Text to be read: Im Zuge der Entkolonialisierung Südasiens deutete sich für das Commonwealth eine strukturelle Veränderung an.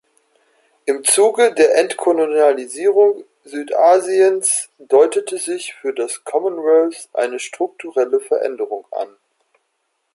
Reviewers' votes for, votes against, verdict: 2, 0, accepted